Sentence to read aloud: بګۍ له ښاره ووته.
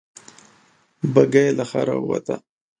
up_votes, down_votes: 2, 0